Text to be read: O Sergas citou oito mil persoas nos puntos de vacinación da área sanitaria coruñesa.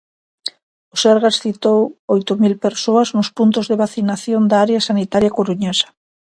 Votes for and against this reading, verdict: 2, 0, accepted